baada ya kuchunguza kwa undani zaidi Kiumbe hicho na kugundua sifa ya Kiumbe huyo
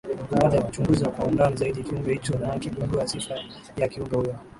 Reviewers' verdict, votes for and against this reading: accepted, 6, 5